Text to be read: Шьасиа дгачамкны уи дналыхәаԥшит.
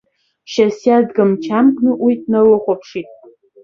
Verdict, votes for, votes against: rejected, 1, 2